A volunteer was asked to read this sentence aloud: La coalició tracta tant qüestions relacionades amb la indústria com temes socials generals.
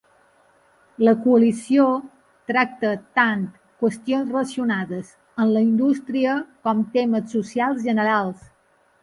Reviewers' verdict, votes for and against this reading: accepted, 2, 0